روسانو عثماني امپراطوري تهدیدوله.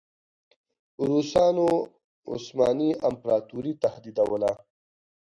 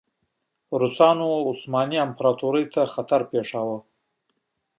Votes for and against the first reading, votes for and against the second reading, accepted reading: 2, 1, 1, 2, first